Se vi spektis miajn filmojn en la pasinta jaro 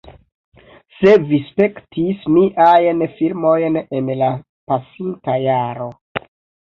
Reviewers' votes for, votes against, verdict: 2, 1, accepted